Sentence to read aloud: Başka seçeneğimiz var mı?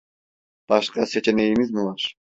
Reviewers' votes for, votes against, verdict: 0, 2, rejected